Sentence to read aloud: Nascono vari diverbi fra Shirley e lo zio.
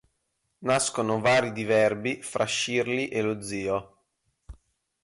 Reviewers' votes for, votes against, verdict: 4, 0, accepted